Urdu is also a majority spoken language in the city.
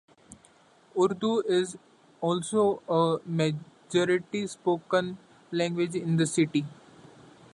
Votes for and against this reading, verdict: 2, 0, accepted